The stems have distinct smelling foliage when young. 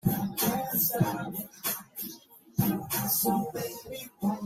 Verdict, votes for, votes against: rejected, 0, 2